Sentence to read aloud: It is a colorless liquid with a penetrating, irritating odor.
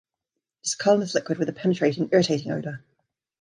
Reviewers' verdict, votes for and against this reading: accepted, 3, 0